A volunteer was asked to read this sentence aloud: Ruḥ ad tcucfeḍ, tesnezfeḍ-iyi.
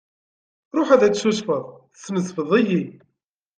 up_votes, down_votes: 0, 2